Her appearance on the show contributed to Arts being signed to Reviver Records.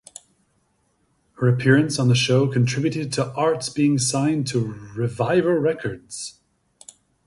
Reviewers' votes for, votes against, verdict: 2, 0, accepted